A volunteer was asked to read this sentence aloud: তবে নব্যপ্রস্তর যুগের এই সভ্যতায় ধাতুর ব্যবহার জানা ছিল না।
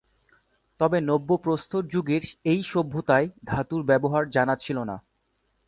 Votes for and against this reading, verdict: 2, 0, accepted